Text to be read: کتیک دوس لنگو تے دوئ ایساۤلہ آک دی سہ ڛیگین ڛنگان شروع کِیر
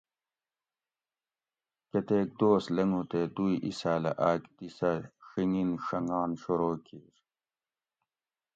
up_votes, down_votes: 2, 0